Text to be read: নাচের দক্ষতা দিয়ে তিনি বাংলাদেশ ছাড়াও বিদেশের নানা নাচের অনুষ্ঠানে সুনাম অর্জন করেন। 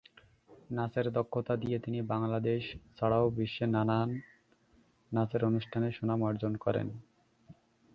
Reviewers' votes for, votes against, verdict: 2, 3, rejected